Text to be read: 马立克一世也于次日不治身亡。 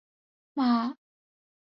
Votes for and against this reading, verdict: 0, 4, rejected